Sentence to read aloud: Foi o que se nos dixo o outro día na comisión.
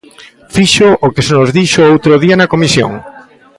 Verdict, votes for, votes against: rejected, 0, 2